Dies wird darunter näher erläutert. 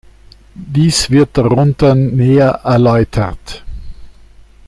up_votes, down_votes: 2, 0